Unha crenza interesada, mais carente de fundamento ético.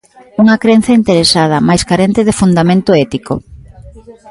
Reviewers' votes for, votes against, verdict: 1, 2, rejected